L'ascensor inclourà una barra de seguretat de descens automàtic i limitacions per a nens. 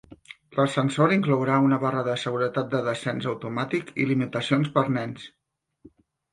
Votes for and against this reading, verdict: 2, 0, accepted